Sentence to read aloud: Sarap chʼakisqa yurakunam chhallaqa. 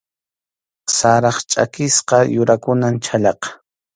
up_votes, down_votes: 2, 0